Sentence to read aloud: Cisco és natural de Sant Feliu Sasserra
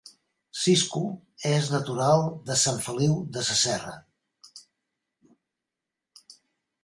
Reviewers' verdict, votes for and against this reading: rejected, 0, 2